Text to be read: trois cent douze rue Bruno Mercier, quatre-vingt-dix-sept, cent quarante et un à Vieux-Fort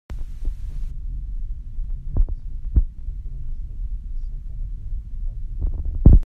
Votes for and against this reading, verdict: 0, 2, rejected